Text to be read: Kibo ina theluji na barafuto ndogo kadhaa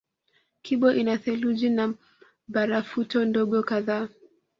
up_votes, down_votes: 2, 0